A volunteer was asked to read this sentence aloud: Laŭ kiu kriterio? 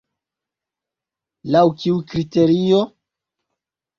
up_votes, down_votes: 2, 0